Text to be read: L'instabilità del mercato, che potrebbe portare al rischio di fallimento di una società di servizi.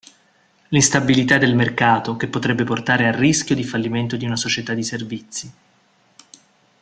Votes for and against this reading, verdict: 2, 0, accepted